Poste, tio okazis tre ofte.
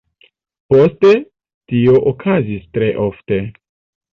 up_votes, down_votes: 2, 0